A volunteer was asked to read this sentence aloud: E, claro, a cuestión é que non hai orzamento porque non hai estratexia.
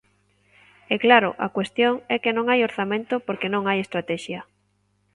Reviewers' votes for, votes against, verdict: 2, 0, accepted